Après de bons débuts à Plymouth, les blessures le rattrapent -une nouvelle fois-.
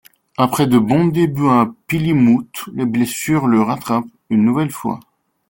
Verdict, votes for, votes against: rejected, 0, 2